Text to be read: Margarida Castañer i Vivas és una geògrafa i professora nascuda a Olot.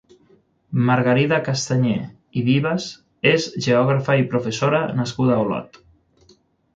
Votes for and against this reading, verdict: 0, 6, rejected